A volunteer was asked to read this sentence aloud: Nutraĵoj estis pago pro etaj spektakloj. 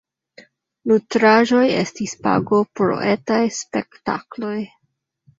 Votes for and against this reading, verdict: 2, 0, accepted